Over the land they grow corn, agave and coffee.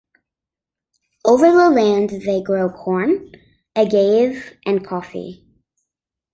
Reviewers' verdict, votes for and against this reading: accepted, 2, 0